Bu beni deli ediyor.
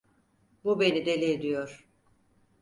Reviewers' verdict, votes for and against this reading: accepted, 4, 0